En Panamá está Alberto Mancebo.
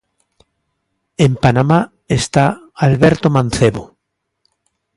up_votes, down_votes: 2, 0